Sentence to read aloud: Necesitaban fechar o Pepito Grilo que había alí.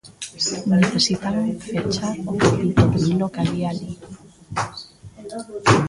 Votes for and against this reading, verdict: 1, 2, rejected